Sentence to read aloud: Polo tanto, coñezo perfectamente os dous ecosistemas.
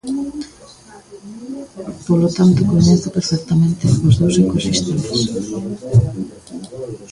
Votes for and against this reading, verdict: 1, 2, rejected